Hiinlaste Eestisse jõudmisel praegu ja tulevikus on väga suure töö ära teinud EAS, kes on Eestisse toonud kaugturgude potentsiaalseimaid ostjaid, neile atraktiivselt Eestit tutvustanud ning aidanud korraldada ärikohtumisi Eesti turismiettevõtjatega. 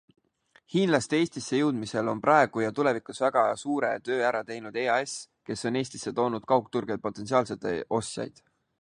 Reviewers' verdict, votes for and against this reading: rejected, 0, 2